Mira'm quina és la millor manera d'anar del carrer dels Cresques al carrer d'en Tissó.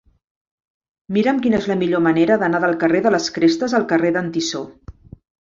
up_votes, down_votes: 0, 2